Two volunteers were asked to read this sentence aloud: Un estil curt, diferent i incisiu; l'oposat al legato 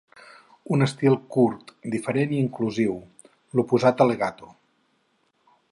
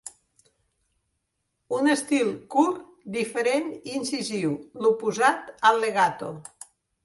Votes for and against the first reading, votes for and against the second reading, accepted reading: 0, 4, 3, 0, second